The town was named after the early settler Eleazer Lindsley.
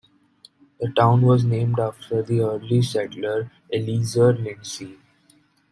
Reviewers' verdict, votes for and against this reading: rejected, 1, 2